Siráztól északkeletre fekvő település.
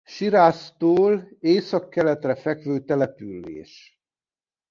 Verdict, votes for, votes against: rejected, 1, 2